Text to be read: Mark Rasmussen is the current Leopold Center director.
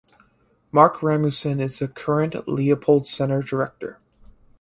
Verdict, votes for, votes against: rejected, 2, 2